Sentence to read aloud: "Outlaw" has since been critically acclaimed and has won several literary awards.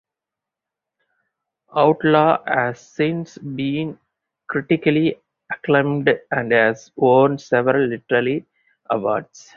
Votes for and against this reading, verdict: 4, 2, accepted